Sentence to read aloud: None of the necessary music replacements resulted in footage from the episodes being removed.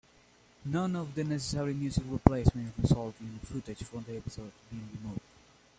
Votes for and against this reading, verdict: 2, 0, accepted